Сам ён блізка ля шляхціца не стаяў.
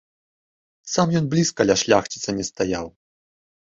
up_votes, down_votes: 2, 0